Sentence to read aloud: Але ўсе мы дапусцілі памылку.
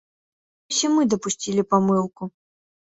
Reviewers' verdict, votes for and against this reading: rejected, 0, 2